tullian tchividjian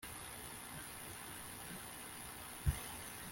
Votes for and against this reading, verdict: 1, 2, rejected